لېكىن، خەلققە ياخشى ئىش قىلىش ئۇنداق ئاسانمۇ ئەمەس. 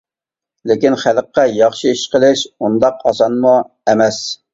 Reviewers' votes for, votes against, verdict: 2, 0, accepted